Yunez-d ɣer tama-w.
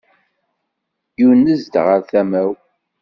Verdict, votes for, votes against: rejected, 1, 2